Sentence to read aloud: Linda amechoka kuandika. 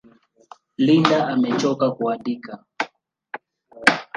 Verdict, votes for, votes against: rejected, 1, 2